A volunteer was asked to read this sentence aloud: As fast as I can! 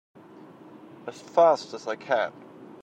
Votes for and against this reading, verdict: 2, 0, accepted